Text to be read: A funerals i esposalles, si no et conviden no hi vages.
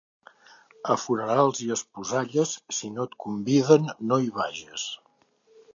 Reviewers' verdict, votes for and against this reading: accepted, 2, 0